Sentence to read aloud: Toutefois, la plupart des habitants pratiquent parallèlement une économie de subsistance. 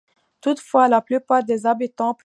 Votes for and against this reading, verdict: 0, 2, rejected